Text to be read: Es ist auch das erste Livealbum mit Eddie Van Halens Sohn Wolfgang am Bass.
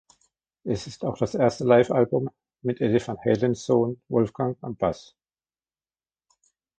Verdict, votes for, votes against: accepted, 2, 0